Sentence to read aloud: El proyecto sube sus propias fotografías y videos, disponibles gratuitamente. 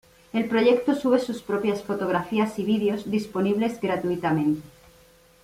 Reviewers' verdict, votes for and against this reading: accepted, 2, 1